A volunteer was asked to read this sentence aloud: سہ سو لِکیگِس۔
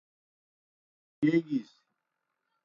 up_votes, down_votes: 0, 2